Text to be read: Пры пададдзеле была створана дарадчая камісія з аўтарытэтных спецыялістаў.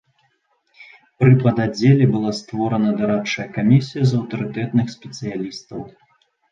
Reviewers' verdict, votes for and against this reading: accepted, 2, 0